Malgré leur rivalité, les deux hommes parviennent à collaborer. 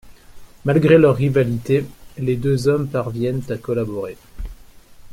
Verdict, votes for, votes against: accepted, 3, 0